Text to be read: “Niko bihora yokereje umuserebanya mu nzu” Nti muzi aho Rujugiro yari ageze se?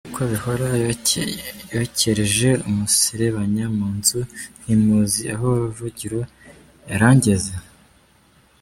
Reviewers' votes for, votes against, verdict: 0, 2, rejected